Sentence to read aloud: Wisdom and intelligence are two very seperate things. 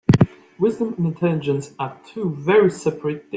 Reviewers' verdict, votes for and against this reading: rejected, 0, 2